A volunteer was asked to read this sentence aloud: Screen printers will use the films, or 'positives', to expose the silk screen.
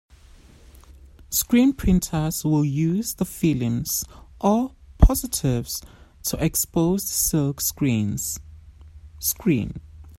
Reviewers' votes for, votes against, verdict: 0, 2, rejected